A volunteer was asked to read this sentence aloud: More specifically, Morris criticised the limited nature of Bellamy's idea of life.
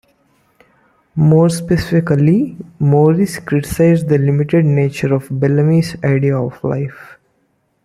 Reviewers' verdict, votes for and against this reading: rejected, 0, 2